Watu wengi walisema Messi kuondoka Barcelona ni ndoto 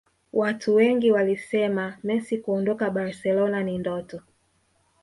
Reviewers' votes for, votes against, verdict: 0, 2, rejected